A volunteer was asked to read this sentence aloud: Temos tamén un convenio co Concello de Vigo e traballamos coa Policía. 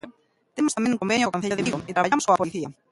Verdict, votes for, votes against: rejected, 0, 2